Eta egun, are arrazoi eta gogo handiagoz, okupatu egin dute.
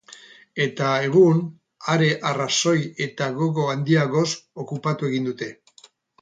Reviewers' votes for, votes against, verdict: 2, 4, rejected